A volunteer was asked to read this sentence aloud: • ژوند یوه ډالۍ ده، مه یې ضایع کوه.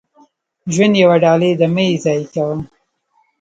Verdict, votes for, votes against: rejected, 1, 2